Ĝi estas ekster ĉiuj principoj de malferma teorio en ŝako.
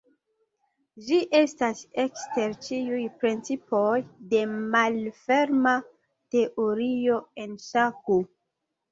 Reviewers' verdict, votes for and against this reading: accepted, 2, 0